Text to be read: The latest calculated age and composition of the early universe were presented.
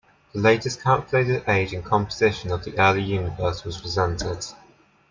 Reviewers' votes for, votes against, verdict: 0, 2, rejected